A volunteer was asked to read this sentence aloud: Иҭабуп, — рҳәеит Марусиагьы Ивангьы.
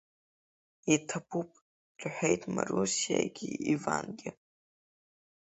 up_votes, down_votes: 8, 5